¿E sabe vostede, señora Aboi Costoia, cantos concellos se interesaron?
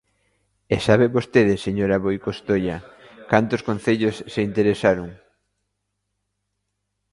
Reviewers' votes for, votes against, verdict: 0, 2, rejected